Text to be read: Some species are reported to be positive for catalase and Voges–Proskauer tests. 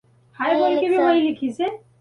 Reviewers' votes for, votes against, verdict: 0, 2, rejected